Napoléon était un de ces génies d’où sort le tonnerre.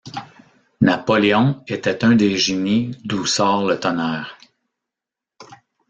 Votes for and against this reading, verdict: 1, 2, rejected